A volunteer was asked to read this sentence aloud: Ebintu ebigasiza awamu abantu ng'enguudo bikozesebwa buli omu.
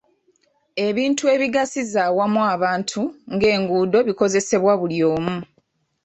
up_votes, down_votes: 2, 0